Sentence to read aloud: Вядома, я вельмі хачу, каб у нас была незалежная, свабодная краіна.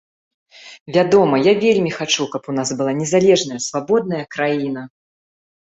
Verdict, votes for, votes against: accepted, 2, 0